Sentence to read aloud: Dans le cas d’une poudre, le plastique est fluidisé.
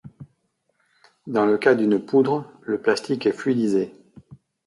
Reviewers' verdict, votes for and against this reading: accepted, 2, 0